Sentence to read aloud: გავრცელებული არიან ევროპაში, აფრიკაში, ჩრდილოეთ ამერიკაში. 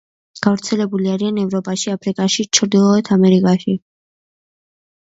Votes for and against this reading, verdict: 1, 2, rejected